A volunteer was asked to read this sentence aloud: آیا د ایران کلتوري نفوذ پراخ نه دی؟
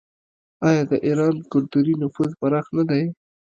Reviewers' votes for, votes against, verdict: 1, 2, rejected